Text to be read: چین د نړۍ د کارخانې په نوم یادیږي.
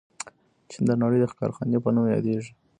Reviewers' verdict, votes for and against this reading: rejected, 1, 2